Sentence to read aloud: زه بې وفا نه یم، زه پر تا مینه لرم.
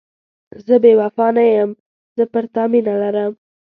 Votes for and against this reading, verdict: 2, 0, accepted